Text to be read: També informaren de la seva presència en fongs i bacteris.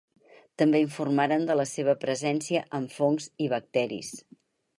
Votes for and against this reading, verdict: 4, 0, accepted